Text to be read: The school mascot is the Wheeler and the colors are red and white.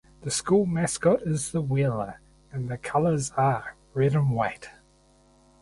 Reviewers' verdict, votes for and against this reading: rejected, 0, 2